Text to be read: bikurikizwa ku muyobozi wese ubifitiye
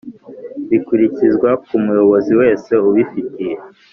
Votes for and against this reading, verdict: 2, 0, accepted